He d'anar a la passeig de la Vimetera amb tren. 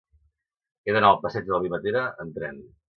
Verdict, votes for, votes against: rejected, 0, 2